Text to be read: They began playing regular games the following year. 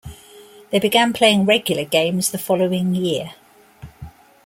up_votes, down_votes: 2, 0